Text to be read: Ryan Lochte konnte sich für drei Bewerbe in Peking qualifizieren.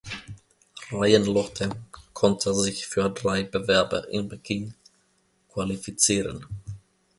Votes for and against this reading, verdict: 1, 2, rejected